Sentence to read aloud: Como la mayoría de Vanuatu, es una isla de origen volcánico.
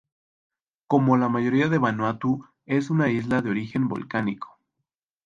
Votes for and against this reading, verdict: 4, 0, accepted